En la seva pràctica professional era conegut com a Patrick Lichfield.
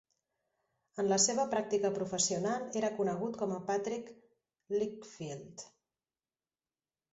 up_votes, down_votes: 2, 0